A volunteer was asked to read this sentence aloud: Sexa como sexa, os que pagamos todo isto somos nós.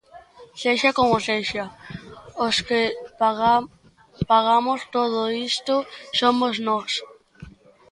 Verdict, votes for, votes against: rejected, 0, 2